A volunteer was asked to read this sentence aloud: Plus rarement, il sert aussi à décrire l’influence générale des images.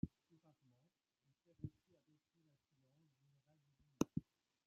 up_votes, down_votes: 0, 2